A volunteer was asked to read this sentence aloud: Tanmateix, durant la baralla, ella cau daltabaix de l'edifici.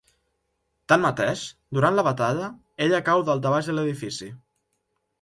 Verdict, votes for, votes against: rejected, 0, 2